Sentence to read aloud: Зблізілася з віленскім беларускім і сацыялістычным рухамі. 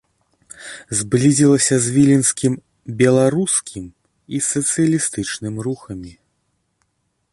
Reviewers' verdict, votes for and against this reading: accepted, 2, 0